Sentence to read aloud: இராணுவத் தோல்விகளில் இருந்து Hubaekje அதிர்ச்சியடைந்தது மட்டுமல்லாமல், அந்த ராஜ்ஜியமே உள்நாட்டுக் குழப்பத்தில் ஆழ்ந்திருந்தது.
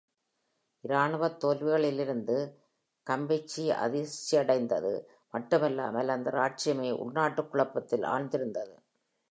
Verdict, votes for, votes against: rejected, 1, 2